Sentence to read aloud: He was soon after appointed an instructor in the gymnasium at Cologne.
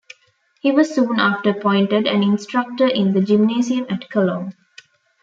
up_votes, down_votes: 2, 0